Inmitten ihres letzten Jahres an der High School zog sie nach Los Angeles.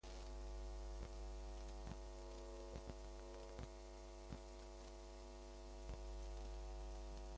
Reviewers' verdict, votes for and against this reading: rejected, 0, 2